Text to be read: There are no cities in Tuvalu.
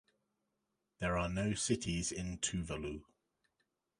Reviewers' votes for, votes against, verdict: 2, 0, accepted